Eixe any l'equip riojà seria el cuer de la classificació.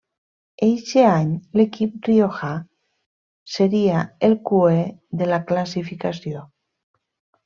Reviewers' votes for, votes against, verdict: 0, 2, rejected